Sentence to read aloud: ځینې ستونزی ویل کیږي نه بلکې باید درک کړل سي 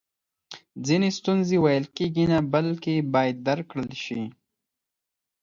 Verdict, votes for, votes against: accepted, 4, 0